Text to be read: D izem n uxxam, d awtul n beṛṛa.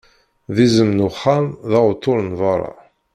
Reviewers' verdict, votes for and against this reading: rejected, 0, 2